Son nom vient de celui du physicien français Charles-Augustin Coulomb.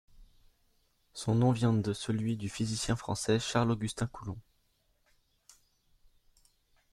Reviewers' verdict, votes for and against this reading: rejected, 0, 2